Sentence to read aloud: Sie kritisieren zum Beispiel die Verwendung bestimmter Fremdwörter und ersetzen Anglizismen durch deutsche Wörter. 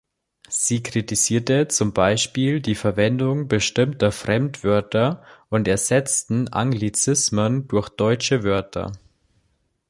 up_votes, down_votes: 0, 2